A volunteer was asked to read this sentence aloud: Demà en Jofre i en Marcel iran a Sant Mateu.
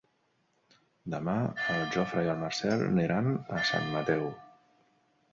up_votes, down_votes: 0, 2